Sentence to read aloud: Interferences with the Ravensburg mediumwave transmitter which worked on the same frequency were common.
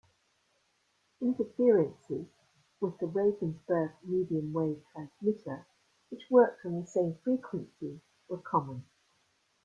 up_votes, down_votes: 1, 2